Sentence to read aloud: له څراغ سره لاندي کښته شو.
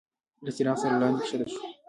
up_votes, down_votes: 2, 0